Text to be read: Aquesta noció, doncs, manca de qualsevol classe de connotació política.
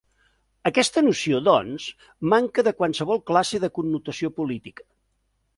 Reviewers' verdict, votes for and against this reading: accepted, 3, 0